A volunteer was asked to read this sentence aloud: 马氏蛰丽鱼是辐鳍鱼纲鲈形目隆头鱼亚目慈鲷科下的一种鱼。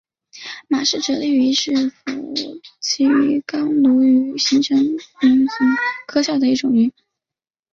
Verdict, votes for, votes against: rejected, 0, 2